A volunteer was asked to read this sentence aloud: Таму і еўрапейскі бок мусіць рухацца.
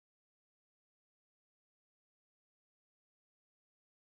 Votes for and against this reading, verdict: 0, 2, rejected